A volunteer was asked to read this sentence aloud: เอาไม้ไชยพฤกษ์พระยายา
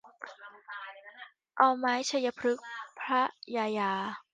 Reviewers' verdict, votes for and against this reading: rejected, 0, 2